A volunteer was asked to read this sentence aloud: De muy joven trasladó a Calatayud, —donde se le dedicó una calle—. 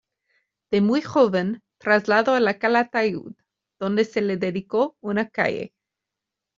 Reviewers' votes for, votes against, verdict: 1, 2, rejected